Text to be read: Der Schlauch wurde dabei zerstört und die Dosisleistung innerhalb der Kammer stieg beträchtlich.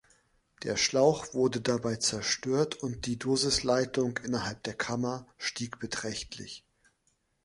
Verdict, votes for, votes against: rejected, 0, 2